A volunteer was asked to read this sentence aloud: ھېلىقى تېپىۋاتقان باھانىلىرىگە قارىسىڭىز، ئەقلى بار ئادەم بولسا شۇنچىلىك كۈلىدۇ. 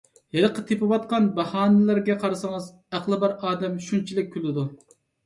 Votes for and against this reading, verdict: 0, 2, rejected